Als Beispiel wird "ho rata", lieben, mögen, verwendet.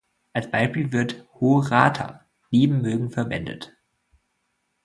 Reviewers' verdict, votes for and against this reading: rejected, 0, 2